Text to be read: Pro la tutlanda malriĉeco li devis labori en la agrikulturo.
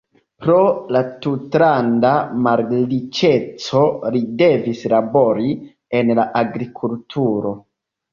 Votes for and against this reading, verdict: 0, 2, rejected